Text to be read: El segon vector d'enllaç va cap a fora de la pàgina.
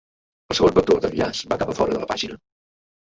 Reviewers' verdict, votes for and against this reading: rejected, 0, 2